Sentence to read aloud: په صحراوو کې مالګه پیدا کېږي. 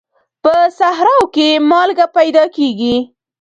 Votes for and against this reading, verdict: 1, 2, rejected